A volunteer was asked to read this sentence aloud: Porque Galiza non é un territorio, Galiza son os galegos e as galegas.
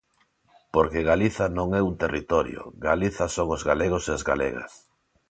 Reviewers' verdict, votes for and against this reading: accepted, 2, 0